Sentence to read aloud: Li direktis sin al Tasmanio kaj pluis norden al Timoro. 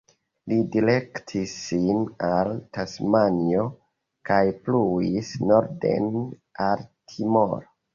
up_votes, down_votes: 0, 2